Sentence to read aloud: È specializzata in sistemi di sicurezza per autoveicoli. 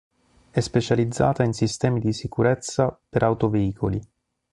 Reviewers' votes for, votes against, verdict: 3, 0, accepted